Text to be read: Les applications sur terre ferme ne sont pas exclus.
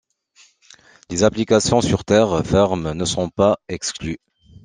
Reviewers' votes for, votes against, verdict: 2, 1, accepted